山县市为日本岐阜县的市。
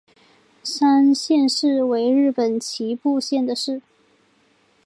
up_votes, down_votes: 2, 0